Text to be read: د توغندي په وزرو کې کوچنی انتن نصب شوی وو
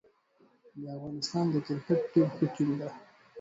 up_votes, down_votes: 0, 4